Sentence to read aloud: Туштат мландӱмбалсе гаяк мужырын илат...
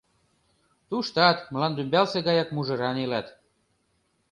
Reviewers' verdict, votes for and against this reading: rejected, 1, 2